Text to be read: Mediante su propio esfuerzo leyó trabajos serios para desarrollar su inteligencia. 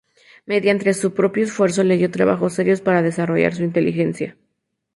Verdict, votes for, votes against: accepted, 2, 0